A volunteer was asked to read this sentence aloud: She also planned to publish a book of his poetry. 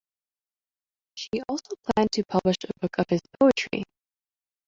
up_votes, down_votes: 0, 2